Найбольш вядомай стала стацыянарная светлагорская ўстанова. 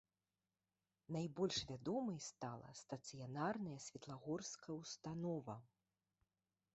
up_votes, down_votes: 3, 1